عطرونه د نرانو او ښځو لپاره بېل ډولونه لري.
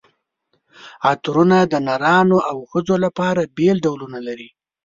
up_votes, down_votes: 3, 0